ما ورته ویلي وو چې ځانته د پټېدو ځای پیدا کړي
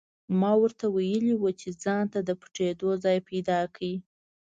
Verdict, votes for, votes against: accepted, 2, 0